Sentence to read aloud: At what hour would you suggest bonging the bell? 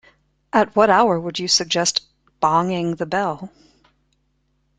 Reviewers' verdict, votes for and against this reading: accepted, 2, 1